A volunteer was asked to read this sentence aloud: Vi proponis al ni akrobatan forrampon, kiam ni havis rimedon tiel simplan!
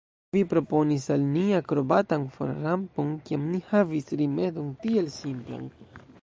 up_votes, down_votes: 2, 0